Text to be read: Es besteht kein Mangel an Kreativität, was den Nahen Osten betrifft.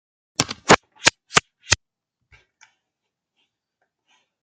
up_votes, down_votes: 0, 2